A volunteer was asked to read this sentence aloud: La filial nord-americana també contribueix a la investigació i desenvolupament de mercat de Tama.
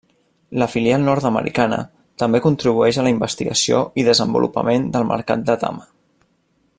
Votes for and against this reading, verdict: 1, 2, rejected